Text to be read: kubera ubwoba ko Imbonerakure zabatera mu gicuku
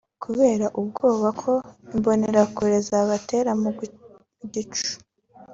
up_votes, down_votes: 1, 2